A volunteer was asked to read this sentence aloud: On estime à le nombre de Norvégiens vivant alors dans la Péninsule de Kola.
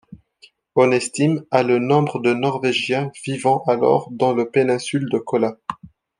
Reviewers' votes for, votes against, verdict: 0, 2, rejected